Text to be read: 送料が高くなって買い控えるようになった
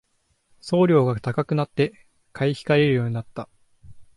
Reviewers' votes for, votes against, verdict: 2, 0, accepted